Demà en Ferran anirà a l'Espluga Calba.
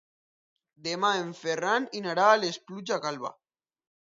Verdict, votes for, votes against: rejected, 1, 2